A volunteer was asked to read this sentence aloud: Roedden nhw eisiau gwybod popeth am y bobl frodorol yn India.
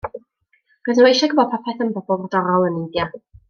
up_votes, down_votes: 0, 2